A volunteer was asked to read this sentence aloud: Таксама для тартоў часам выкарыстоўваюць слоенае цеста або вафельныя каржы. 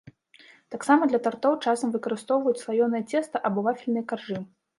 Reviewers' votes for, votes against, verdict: 1, 2, rejected